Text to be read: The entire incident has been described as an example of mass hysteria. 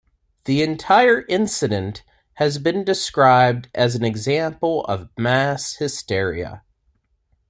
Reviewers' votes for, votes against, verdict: 2, 0, accepted